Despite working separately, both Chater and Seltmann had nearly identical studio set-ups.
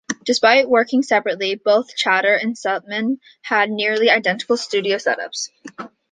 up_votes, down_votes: 2, 0